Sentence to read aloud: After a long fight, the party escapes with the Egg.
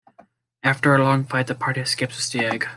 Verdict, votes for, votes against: accepted, 2, 0